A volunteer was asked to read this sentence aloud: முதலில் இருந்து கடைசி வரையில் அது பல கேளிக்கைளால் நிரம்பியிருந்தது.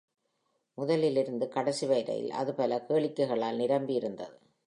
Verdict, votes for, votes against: accepted, 2, 0